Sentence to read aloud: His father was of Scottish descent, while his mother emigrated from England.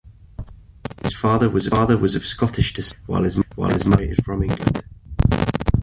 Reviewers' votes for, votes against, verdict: 1, 2, rejected